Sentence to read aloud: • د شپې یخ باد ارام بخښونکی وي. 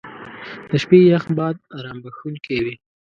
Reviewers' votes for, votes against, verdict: 2, 0, accepted